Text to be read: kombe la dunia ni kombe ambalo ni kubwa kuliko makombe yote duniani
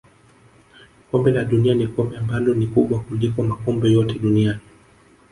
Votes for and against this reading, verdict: 4, 1, accepted